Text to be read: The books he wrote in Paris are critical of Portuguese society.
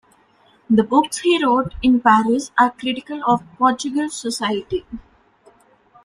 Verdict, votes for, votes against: accepted, 2, 0